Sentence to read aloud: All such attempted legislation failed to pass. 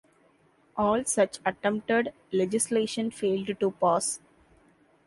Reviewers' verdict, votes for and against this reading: accepted, 2, 0